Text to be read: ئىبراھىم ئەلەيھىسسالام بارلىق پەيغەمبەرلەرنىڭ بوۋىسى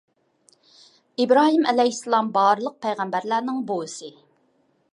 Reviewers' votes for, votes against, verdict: 2, 0, accepted